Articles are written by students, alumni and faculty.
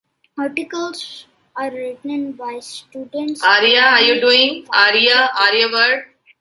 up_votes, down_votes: 0, 2